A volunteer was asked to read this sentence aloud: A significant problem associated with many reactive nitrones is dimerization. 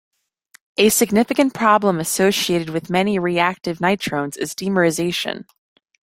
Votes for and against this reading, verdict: 2, 0, accepted